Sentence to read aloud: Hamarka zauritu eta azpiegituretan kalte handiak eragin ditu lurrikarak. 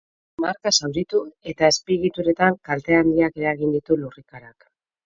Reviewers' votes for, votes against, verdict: 2, 4, rejected